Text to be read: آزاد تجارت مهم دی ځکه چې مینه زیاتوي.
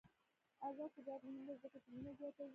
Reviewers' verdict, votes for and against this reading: rejected, 1, 2